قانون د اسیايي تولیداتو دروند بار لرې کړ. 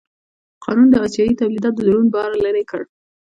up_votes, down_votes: 2, 0